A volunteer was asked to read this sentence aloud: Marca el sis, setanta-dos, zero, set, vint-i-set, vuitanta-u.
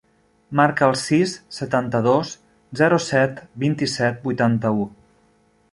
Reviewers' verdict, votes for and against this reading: accepted, 3, 0